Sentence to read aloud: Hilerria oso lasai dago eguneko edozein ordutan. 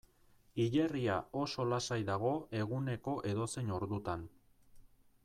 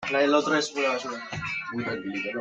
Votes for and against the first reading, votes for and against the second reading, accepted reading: 2, 0, 0, 2, first